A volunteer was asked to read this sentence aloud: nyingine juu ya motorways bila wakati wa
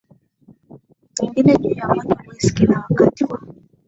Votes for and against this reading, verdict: 0, 2, rejected